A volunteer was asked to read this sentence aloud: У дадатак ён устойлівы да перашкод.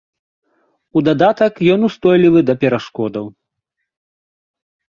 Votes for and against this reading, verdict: 0, 2, rejected